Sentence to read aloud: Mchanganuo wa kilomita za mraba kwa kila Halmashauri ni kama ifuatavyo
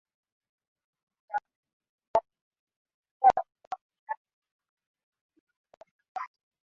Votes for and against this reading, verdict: 0, 3, rejected